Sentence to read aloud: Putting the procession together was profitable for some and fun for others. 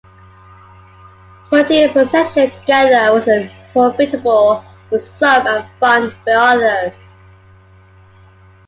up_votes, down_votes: 1, 2